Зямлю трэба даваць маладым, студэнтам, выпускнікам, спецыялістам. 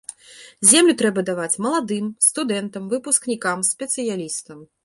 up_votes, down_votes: 0, 2